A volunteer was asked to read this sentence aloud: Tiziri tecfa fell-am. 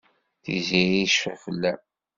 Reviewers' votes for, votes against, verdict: 1, 2, rejected